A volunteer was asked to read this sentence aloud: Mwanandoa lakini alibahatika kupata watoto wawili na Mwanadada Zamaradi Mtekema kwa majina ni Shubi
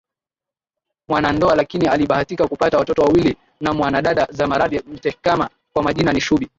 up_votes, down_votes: 5, 4